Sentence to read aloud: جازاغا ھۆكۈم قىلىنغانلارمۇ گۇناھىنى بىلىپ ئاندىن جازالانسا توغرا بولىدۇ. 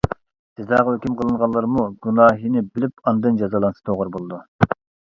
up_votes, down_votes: 2, 1